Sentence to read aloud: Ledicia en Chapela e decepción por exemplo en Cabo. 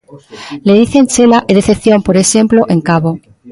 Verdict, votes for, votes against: rejected, 0, 2